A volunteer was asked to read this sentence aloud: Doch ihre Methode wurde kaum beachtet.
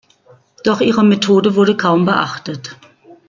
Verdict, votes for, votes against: accepted, 2, 0